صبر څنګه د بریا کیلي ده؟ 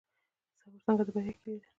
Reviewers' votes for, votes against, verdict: 1, 2, rejected